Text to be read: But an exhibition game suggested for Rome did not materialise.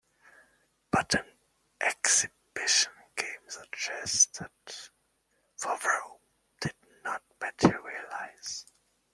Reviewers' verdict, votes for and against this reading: accepted, 2, 1